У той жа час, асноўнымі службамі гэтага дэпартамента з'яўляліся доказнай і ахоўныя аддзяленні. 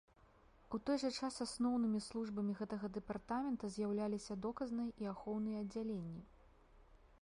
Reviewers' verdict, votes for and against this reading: rejected, 0, 2